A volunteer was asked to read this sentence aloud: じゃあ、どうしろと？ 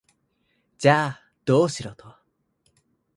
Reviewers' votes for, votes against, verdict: 2, 0, accepted